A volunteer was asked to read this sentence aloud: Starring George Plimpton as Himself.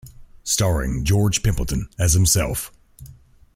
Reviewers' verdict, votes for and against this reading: rejected, 1, 2